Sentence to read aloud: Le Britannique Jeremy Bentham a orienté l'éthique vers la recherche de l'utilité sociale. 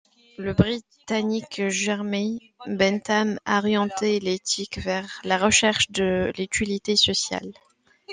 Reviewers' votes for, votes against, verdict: 1, 2, rejected